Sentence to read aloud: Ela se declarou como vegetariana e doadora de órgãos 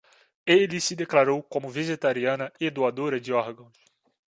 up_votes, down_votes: 0, 2